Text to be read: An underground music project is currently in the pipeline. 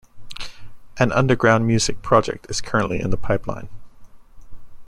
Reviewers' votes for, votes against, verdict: 2, 0, accepted